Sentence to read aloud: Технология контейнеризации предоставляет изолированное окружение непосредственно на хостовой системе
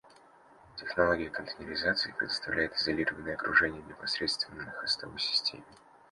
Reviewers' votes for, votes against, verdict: 2, 0, accepted